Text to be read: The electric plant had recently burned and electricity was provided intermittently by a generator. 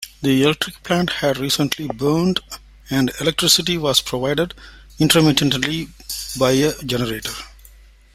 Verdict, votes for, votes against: rejected, 1, 2